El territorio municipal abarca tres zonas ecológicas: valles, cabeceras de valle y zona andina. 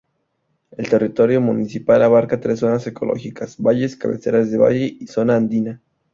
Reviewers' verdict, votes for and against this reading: accepted, 2, 0